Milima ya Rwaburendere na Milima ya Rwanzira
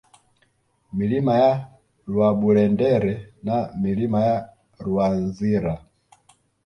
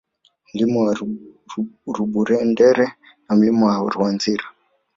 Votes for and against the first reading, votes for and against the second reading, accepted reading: 2, 0, 1, 3, first